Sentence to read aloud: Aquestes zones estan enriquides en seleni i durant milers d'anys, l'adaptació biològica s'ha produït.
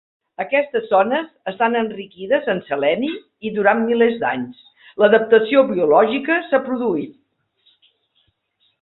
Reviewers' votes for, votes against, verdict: 0, 2, rejected